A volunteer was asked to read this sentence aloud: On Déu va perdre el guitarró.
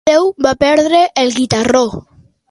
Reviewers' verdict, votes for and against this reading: rejected, 0, 2